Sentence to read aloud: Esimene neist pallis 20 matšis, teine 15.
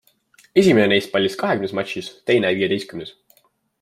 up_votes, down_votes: 0, 2